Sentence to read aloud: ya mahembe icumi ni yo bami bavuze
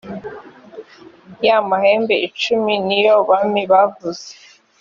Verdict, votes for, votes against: accepted, 2, 0